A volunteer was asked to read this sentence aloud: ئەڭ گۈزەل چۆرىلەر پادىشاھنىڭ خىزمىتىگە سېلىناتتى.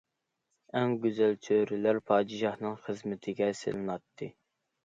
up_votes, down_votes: 2, 0